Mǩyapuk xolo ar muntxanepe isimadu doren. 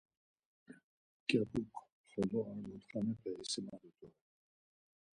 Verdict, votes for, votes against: rejected, 2, 4